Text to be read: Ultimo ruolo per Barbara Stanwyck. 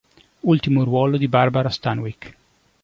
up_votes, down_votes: 0, 2